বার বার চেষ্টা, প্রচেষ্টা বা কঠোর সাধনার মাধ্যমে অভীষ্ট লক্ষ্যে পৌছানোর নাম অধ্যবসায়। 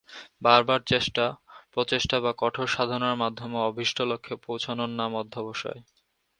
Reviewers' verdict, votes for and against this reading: accepted, 7, 3